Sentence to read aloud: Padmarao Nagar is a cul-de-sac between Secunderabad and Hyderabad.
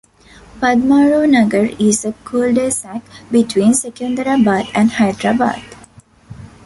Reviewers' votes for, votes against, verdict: 2, 0, accepted